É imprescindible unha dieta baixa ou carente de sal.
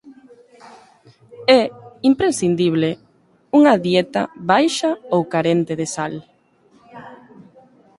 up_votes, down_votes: 2, 0